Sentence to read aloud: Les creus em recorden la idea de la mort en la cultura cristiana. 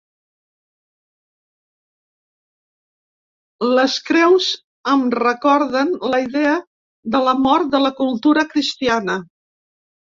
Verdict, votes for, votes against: rejected, 2, 4